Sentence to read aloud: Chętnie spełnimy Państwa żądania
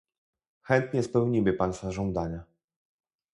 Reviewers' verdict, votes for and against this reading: rejected, 0, 2